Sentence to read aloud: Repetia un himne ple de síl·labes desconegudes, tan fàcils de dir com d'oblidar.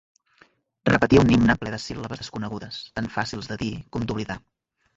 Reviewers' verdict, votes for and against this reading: rejected, 1, 2